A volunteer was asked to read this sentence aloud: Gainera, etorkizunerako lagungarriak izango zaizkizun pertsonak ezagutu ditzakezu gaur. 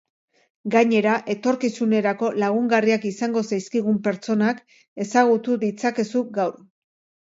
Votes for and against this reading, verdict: 0, 2, rejected